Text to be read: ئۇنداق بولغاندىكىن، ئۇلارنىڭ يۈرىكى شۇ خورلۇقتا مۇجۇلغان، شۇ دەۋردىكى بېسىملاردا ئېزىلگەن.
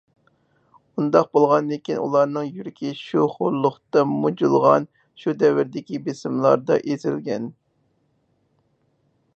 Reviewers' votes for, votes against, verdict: 4, 0, accepted